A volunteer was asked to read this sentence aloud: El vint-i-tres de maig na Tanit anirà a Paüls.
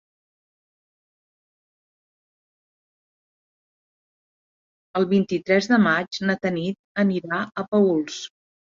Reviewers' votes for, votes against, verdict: 3, 1, accepted